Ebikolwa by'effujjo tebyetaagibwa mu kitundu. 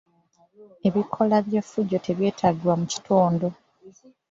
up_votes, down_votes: 2, 1